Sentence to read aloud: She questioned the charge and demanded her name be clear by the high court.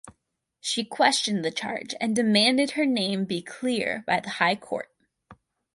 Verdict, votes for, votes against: rejected, 0, 2